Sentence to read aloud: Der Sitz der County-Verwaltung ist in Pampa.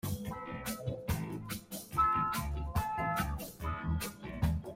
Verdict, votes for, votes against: rejected, 0, 2